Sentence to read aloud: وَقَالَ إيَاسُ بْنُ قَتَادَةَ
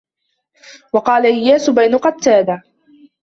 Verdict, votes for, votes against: rejected, 1, 2